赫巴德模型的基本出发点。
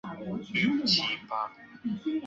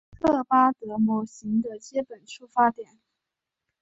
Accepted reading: second